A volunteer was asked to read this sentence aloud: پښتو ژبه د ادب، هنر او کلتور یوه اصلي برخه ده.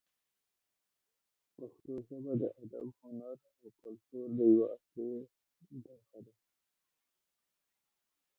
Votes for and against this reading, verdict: 0, 2, rejected